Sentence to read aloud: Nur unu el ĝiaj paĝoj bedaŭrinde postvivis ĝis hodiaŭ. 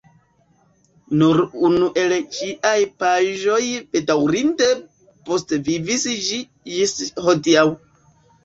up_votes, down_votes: 1, 2